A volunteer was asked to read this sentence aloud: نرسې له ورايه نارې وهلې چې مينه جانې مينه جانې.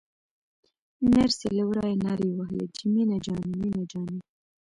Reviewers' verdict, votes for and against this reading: accepted, 2, 1